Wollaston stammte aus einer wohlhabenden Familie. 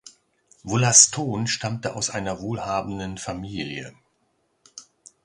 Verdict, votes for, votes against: accepted, 2, 0